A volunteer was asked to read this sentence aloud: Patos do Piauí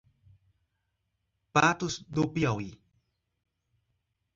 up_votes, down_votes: 2, 0